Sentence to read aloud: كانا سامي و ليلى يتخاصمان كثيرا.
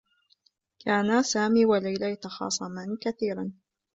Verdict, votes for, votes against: rejected, 0, 2